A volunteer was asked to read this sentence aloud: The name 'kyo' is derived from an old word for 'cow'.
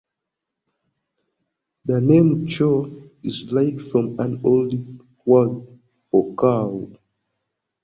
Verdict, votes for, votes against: accepted, 2, 0